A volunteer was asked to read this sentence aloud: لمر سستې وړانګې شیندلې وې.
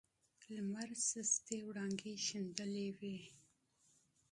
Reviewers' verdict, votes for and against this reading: rejected, 1, 2